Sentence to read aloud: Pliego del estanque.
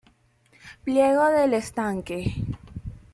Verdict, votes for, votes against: accepted, 2, 0